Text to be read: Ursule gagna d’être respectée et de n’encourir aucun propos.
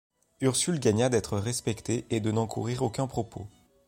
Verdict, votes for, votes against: accepted, 2, 0